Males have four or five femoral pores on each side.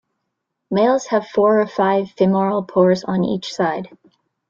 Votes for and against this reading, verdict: 2, 0, accepted